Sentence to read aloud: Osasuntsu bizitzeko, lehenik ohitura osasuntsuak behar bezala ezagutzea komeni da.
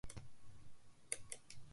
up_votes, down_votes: 0, 2